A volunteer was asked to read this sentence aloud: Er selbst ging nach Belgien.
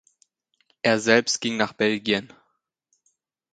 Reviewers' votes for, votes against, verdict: 2, 0, accepted